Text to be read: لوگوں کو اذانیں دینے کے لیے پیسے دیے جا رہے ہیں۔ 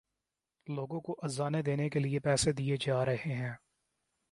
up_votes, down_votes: 2, 0